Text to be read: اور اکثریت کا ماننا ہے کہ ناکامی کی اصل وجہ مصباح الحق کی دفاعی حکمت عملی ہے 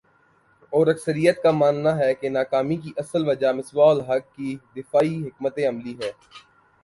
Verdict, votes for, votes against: accepted, 2, 0